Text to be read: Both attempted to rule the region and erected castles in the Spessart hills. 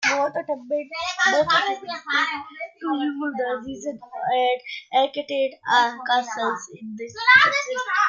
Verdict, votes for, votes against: rejected, 1, 2